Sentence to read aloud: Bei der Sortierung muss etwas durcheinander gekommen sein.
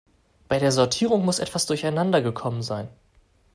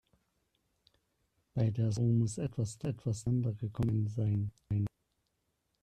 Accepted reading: first